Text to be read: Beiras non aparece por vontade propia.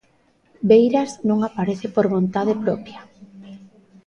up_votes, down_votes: 1, 2